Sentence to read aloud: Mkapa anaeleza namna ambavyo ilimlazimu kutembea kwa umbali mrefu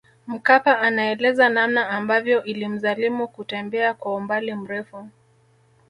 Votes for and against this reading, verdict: 1, 2, rejected